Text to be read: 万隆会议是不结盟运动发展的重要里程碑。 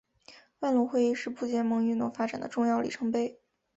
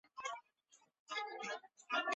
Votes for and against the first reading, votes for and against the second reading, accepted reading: 2, 0, 1, 2, first